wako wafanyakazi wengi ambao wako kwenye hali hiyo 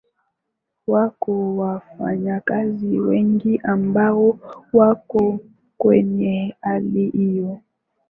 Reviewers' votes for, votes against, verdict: 3, 0, accepted